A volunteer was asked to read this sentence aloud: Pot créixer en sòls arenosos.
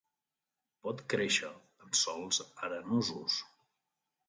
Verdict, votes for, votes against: accepted, 2, 0